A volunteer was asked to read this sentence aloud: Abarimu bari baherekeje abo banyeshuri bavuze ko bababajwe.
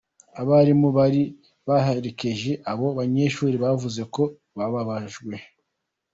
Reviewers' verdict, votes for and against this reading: rejected, 1, 2